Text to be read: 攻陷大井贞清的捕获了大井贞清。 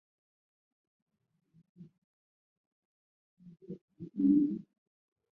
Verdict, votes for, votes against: rejected, 1, 3